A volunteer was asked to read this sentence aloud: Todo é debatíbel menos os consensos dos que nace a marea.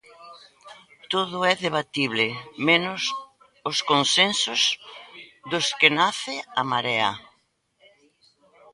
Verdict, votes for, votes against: rejected, 0, 2